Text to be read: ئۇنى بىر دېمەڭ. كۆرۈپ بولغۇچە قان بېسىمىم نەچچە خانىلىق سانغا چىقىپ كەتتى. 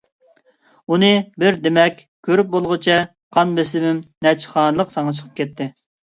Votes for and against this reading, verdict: 1, 2, rejected